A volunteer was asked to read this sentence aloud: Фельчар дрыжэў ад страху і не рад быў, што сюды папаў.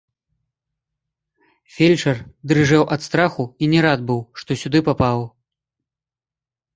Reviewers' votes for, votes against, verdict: 2, 0, accepted